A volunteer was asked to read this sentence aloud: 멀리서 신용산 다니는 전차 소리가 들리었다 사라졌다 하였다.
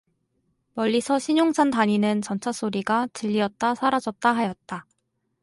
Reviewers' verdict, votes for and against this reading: rejected, 0, 2